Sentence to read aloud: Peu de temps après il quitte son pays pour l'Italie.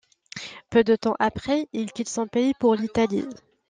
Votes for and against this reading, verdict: 2, 0, accepted